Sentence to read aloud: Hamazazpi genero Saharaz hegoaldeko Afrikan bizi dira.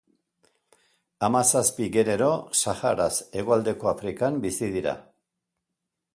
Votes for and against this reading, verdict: 3, 0, accepted